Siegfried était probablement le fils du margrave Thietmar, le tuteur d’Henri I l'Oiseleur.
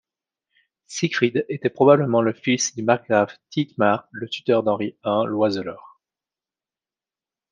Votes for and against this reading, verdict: 2, 0, accepted